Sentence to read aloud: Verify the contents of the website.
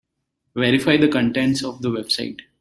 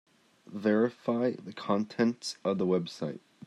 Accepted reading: second